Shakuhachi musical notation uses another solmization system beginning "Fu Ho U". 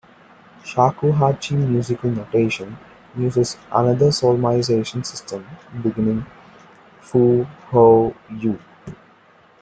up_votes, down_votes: 2, 0